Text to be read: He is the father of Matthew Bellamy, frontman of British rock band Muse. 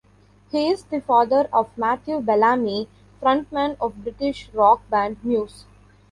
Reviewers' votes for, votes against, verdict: 2, 0, accepted